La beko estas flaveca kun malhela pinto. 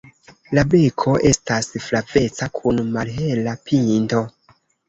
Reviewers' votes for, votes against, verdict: 2, 1, accepted